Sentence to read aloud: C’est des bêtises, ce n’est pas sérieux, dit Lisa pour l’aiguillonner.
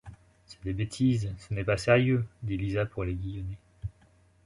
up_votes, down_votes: 2, 0